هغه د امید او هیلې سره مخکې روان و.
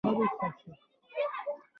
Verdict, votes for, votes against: rejected, 0, 2